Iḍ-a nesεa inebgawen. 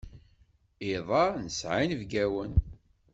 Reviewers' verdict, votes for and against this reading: accepted, 2, 0